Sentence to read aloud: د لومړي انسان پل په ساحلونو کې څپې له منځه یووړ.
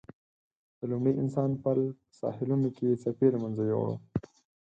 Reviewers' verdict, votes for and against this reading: accepted, 4, 0